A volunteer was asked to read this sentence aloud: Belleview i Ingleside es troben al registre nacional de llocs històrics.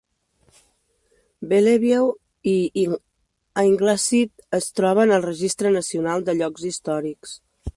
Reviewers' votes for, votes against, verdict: 0, 2, rejected